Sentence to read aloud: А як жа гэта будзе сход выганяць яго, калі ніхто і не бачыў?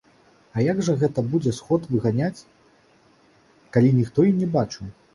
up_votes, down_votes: 0, 2